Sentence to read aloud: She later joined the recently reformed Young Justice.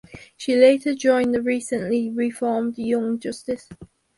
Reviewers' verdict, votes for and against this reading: accepted, 4, 0